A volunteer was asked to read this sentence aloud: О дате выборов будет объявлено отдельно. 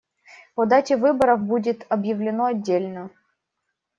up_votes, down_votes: 2, 0